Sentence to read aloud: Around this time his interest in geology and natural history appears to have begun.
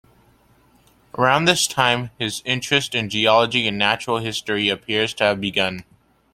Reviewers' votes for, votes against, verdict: 2, 0, accepted